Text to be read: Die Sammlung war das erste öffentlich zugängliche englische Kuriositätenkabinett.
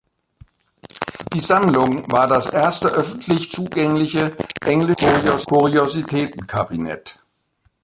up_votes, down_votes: 0, 2